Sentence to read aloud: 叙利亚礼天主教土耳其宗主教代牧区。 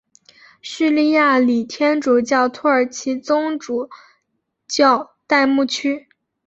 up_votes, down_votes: 3, 1